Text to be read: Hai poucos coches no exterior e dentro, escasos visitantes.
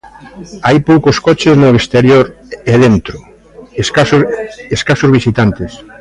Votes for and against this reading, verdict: 0, 2, rejected